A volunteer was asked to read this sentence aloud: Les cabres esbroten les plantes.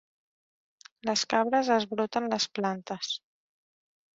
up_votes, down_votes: 2, 0